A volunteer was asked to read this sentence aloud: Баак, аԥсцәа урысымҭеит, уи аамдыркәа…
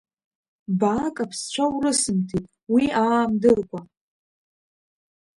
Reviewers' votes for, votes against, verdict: 1, 2, rejected